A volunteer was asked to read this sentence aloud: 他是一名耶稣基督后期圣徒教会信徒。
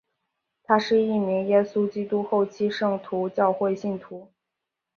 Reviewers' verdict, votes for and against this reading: rejected, 1, 2